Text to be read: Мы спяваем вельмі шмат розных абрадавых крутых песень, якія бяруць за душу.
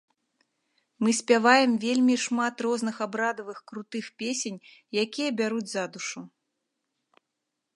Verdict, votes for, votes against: rejected, 0, 3